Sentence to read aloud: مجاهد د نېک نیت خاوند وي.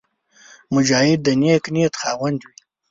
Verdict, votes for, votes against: rejected, 1, 3